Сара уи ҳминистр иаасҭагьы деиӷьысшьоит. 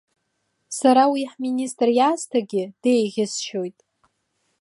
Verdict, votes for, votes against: accepted, 2, 0